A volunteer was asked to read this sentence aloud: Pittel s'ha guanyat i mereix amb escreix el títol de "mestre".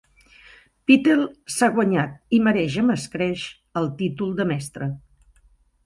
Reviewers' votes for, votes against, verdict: 2, 0, accepted